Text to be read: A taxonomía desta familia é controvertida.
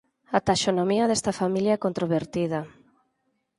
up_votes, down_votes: 2, 6